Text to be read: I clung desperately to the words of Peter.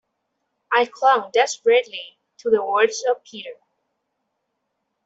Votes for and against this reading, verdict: 2, 0, accepted